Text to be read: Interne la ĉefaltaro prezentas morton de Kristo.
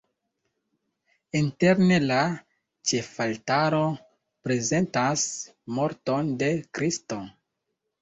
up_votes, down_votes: 1, 2